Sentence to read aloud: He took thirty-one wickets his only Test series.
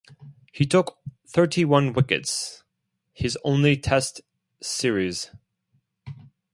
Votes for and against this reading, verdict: 2, 0, accepted